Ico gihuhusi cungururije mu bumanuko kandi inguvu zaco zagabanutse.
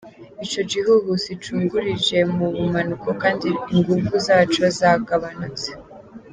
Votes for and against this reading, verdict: 2, 0, accepted